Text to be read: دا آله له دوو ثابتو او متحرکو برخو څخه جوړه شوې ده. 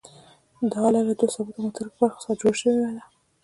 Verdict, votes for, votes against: accepted, 2, 1